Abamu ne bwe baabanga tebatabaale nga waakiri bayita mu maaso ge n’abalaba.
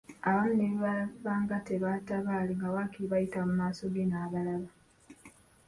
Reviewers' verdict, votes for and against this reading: accepted, 2, 1